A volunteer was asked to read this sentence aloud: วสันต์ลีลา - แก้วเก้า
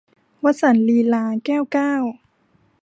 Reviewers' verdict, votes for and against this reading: accepted, 2, 0